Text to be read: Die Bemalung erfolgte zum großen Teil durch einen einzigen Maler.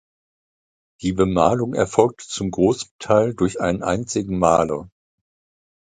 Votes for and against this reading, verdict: 1, 2, rejected